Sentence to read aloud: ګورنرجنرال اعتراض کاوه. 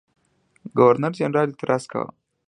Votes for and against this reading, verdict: 2, 1, accepted